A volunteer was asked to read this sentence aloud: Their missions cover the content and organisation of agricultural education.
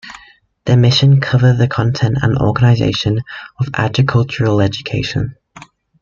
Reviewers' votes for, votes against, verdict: 0, 2, rejected